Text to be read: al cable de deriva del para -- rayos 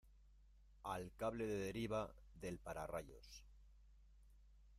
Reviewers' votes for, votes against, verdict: 1, 2, rejected